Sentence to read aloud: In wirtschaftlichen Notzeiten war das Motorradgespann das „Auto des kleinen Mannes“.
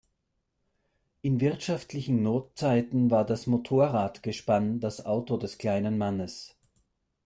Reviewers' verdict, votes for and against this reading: accepted, 2, 0